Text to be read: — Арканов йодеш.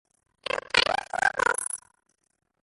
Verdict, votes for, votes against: rejected, 0, 2